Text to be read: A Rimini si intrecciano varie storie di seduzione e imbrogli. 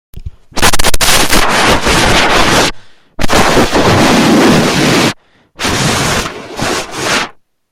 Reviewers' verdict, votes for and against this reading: rejected, 0, 2